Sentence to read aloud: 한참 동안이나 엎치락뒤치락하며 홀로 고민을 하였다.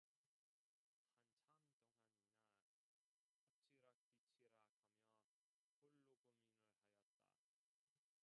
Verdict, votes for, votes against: rejected, 0, 2